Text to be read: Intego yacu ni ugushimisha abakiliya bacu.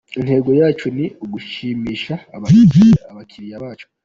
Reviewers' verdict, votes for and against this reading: accepted, 2, 1